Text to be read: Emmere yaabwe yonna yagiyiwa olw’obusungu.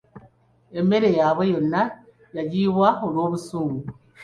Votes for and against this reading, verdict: 3, 0, accepted